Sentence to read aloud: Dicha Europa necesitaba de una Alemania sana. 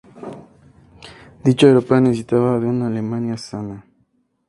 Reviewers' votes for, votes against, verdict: 2, 0, accepted